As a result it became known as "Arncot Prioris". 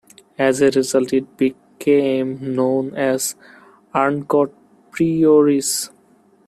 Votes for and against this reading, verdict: 1, 2, rejected